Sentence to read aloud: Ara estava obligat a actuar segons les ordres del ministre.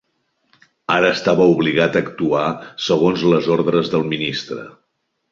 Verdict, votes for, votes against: accepted, 3, 0